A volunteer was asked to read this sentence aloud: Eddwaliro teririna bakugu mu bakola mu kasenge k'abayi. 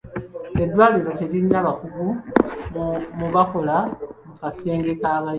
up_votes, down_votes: 0, 2